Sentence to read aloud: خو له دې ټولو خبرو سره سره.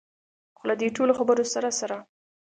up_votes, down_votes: 2, 0